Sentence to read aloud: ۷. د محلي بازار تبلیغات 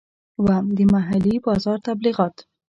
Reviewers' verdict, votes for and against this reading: rejected, 0, 2